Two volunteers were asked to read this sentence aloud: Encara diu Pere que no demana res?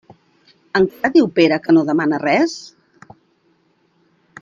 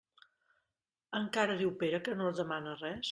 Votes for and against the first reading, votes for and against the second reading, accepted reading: 0, 2, 2, 0, second